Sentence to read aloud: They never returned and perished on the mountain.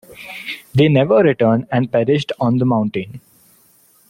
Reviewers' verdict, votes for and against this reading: accepted, 2, 0